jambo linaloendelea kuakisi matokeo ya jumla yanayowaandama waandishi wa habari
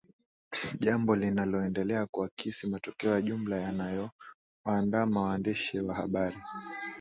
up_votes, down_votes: 9, 0